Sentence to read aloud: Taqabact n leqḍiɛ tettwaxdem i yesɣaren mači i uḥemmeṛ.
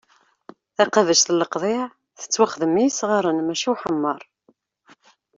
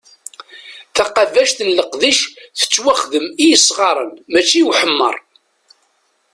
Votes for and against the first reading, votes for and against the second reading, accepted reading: 2, 0, 0, 2, first